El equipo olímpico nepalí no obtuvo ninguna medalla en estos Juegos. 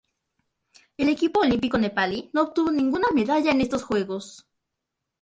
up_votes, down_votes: 2, 0